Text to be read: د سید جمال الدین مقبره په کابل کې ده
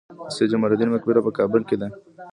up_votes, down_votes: 0, 2